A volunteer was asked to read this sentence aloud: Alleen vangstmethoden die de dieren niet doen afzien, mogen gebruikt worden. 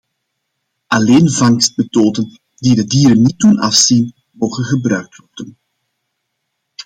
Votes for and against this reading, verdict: 2, 0, accepted